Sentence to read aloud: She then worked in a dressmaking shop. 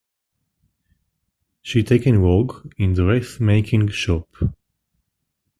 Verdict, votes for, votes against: rejected, 0, 2